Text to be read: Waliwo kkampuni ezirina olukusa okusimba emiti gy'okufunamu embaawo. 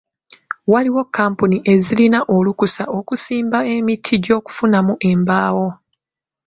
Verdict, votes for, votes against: accepted, 2, 1